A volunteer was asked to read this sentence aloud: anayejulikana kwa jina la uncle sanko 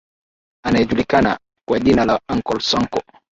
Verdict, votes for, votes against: accepted, 2, 0